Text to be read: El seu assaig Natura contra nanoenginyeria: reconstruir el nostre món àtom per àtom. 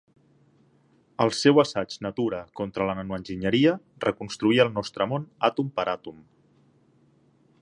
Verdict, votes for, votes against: rejected, 0, 2